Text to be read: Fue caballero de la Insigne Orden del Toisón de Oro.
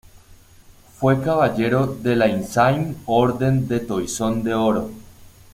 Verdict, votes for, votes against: rejected, 1, 2